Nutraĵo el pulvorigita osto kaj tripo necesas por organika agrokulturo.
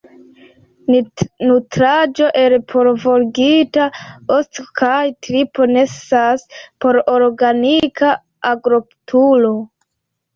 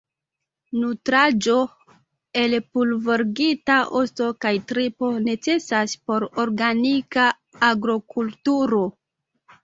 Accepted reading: first